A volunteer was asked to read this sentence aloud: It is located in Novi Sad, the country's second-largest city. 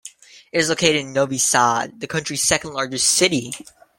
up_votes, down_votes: 2, 0